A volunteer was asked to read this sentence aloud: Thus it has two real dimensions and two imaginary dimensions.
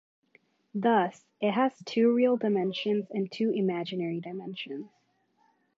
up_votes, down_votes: 2, 0